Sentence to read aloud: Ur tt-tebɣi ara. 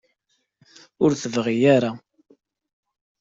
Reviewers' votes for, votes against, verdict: 2, 0, accepted